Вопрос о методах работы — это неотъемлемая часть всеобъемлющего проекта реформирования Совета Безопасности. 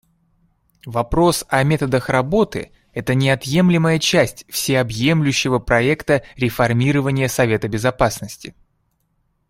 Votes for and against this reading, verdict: 2, 0, accepted